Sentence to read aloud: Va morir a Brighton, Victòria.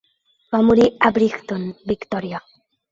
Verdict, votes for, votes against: rejected, 0, 3